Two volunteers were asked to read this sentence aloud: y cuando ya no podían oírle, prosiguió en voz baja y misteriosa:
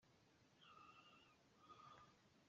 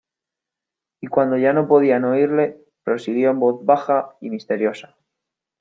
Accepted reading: second